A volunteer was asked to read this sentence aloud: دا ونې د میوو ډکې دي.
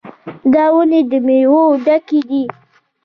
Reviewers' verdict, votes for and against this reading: rejected, 1, 2